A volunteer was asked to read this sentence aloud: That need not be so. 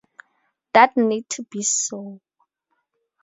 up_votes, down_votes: 2, 2